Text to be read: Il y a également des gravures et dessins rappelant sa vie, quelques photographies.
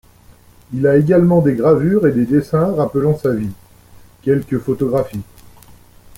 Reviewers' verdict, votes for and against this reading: rejected, 0, 2